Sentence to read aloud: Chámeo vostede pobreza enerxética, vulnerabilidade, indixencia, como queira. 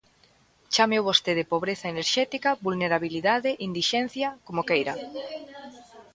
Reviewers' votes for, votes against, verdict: 1, 2, rejected